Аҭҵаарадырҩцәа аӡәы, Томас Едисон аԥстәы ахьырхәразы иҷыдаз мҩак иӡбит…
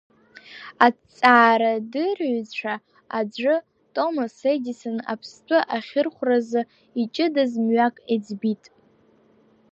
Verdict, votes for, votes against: accepted, 2, 0